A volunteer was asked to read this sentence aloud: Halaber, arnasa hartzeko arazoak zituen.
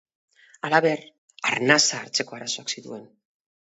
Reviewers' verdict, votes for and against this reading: accepted, 2, 0